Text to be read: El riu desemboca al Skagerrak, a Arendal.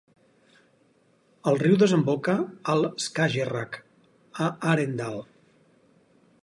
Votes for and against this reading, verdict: 4, 0, accepted